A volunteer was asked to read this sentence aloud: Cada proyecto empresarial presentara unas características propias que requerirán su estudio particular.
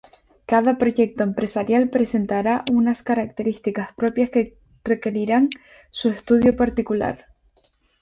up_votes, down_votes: 4, 0